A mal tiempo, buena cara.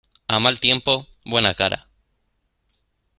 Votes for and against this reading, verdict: 2, 0, accepted